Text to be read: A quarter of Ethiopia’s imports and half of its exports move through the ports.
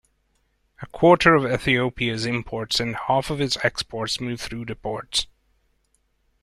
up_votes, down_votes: 2, 0